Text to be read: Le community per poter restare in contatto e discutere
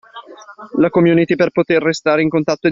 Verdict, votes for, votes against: rejected, 0, 2